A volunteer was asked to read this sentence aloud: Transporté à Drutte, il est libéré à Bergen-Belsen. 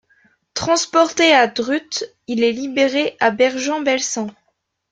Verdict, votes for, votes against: rejected, 0, 2